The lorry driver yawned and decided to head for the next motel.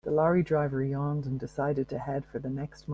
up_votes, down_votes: 1, 2